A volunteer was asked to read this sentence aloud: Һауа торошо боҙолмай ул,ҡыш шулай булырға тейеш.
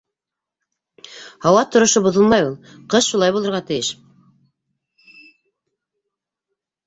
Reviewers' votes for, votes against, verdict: 1, 2, rejected